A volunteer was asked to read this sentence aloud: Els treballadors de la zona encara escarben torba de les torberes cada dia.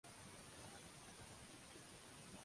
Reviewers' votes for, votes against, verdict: 0, 2, rejected